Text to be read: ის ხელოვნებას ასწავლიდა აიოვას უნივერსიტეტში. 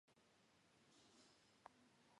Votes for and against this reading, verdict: 1, 3, rejected